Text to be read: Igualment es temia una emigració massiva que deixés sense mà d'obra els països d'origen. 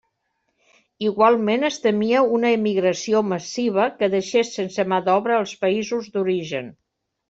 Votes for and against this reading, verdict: 2, 0, accepted